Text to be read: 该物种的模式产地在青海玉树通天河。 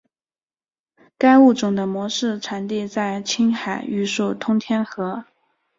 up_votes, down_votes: 3, 0